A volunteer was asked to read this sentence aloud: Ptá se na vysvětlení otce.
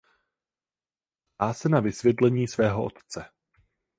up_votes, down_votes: 0, 4